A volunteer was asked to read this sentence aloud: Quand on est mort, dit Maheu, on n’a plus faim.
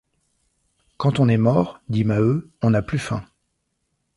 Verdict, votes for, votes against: accepted, 2, 0